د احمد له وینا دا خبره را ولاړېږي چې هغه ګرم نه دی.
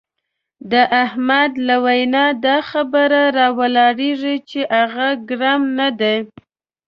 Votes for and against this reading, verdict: 2, 0, accepted